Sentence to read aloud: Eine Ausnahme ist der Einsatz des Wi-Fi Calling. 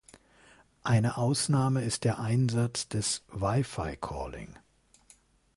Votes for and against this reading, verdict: 2, 0, accepted